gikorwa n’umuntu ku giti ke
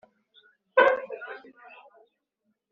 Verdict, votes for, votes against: rejected, 1, 2